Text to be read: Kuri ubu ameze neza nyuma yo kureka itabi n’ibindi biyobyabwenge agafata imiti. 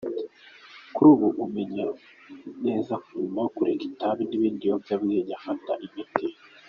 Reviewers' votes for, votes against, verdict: 2, 0, accepted